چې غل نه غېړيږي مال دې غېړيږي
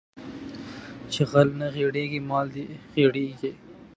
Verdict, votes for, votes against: accepted, 2, 0